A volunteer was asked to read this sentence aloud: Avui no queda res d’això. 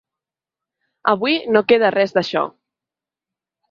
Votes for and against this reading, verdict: 3, 0, accepted